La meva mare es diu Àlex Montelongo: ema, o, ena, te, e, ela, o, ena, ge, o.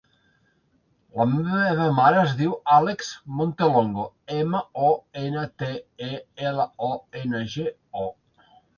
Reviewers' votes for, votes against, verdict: 1, 2, rejected